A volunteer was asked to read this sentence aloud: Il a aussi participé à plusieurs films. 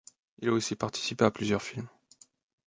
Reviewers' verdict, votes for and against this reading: accepted, 2, 0